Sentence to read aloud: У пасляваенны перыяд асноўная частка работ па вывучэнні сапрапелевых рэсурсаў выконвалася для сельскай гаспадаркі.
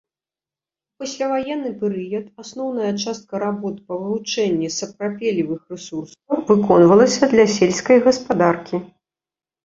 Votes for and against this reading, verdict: 1, 2, rejected